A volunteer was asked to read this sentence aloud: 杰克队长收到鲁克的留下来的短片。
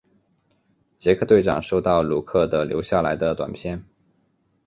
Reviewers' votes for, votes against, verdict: 4, 0, accepted